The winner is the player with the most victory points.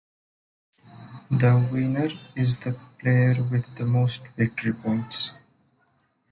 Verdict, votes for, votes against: accepted, 2, 0